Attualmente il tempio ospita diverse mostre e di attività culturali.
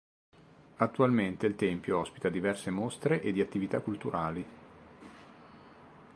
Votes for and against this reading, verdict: 2, 0, accepted